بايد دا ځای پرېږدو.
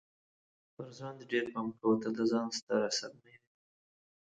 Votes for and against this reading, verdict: 0, 3, rejected